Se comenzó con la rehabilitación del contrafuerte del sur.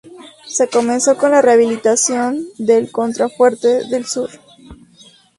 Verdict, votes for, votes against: accepted, 4, 0